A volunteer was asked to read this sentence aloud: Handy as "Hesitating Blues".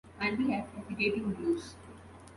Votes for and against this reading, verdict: 0, 2, rejected